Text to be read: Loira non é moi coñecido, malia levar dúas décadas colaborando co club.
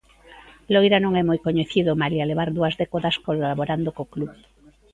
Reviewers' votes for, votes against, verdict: 2, 1, accepted